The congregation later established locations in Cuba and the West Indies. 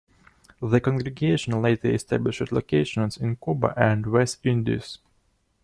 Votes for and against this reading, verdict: 1, 2, rejected